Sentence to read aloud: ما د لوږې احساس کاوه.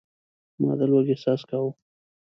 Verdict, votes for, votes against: rejected, 1, 2